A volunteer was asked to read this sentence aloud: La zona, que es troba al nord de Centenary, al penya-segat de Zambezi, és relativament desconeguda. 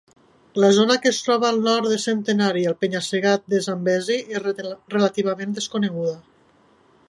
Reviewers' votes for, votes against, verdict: 1, 2, rejected